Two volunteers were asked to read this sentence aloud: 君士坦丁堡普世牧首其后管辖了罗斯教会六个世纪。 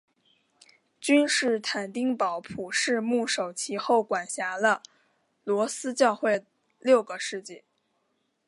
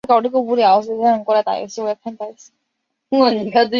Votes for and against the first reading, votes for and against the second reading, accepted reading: 3, 1, 0, 5, first